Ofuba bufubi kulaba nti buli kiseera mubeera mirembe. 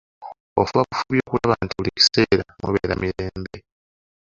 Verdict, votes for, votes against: rejected, 0, 2